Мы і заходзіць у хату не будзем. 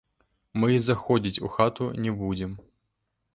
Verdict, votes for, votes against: rejected, 0, 2